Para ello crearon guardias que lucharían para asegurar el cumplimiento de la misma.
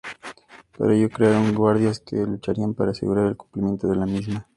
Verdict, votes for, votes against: accepted, 2, 0